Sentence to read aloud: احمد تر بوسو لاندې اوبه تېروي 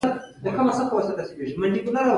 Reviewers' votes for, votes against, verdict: 2, 4, rejected